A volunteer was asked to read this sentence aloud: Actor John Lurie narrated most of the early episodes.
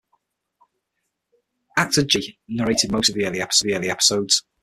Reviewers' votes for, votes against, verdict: 0, 6, rejected